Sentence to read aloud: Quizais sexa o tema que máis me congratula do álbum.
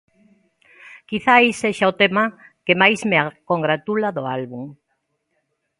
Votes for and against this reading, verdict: 1, 2, rejected